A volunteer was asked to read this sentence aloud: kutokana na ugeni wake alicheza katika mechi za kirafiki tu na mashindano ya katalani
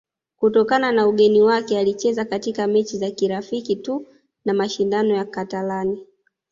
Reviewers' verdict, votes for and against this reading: accepted, 2, 0